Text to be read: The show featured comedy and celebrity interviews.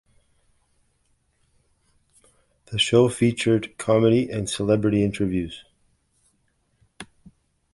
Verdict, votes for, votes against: accepted, 2, 0